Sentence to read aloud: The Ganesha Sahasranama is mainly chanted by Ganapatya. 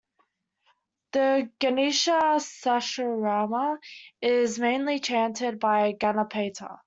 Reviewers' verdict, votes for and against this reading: rejected, 0, 2